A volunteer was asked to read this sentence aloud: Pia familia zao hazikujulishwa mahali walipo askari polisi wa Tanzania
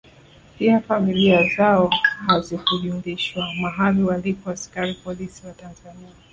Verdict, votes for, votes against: rejected, 0, 2